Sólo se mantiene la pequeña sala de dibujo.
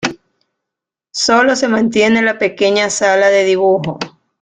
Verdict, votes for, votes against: accepted, 2, 0